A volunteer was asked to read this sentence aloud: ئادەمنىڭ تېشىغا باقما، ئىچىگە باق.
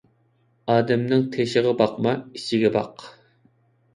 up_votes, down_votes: 2, 0